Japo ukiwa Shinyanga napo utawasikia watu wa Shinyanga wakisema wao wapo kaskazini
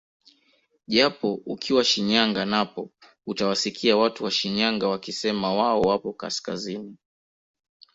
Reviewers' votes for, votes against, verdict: 2, 1, accepted